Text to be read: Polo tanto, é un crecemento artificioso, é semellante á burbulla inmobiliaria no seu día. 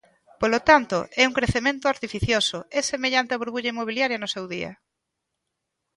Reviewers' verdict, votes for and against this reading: accepted, 2, 0